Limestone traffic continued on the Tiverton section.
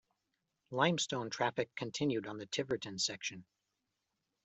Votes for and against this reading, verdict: 2, 0, accepted